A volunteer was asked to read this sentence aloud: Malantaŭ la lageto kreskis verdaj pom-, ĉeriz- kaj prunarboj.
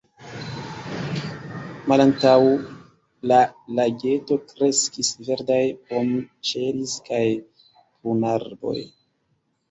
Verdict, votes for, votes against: rejected, 1, 2